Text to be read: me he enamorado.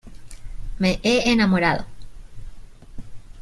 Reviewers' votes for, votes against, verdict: 2, 0, accepted